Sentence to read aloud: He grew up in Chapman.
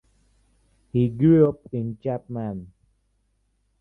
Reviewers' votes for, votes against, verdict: 2, 0, accepted